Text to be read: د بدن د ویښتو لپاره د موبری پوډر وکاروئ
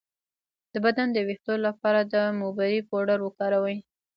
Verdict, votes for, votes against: rejected, 1, 2